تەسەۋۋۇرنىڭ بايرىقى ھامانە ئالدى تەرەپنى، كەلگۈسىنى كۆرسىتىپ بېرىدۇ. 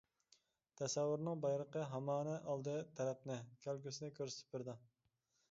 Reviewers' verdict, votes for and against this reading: accepted, 2, 1